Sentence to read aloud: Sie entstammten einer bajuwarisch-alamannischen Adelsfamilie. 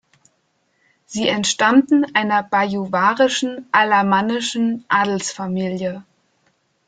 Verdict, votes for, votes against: rejected, 0, 2